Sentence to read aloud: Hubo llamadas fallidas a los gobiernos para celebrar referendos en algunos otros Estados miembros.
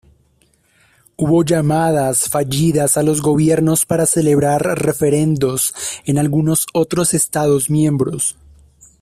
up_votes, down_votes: 0, 2